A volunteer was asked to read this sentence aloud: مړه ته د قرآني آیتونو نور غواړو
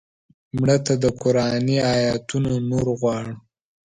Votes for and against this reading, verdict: 2, 1, accepted